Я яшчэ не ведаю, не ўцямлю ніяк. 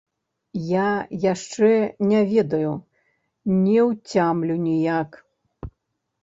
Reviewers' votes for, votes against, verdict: 0, 2, rejected